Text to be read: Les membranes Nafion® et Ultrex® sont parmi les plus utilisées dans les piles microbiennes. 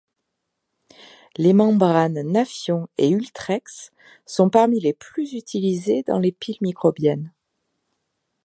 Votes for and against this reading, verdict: 2, 0, accepted